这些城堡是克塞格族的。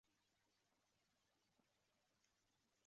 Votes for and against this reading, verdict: 0, 2, rejected